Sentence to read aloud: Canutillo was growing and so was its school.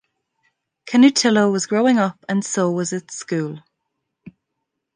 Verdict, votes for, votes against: rejected, 1, 2